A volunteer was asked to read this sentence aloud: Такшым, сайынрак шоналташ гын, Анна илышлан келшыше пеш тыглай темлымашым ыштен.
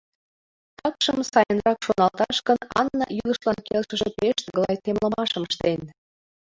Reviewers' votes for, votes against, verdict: 0, 2, rejected